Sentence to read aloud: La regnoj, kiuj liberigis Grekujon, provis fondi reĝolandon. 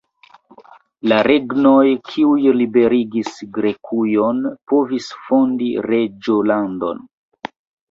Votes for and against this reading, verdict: 0, 2, rejected